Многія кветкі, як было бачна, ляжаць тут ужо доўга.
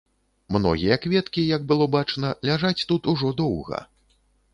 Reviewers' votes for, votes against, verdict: 2, 0, accepted